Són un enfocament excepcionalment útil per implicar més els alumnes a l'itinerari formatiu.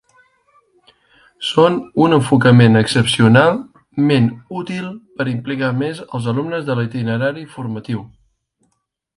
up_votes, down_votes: 0, 2